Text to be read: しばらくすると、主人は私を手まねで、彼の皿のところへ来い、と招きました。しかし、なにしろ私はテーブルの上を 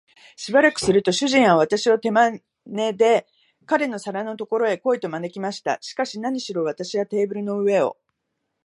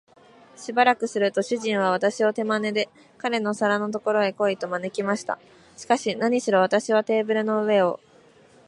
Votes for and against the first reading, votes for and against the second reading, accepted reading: 0, 2, 2, 0, second